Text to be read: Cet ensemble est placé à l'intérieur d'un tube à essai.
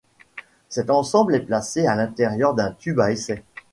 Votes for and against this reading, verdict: 2, 0, accepted